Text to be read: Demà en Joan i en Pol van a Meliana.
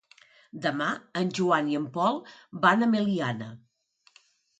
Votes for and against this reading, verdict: 2, 0, accepted